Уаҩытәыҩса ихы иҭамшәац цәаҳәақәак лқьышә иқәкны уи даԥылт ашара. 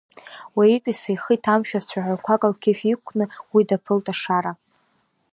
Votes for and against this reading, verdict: 1, 2, rejected